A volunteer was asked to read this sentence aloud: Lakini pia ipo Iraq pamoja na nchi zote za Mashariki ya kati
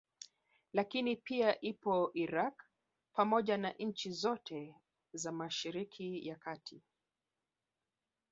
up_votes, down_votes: 3, 0